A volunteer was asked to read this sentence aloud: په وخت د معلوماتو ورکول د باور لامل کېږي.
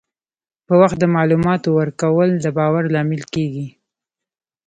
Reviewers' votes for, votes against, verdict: 2, 1, accepted